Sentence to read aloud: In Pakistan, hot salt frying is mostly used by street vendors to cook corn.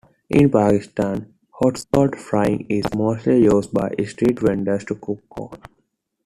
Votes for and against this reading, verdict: 1, 2, rejected